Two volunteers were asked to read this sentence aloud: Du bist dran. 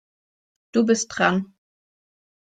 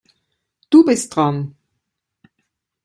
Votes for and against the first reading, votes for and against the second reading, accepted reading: 2, 0, 1, 2, first